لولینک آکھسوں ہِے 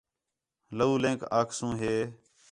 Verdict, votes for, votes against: accepted, 4, 0